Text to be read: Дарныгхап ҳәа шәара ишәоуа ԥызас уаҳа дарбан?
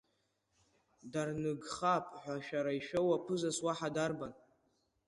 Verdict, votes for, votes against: rejected, 0, 2